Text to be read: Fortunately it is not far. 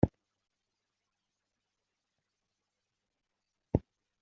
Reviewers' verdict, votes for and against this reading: rejected, 0, 2